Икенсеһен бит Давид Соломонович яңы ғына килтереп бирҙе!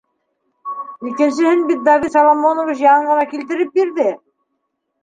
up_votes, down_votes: 2, 1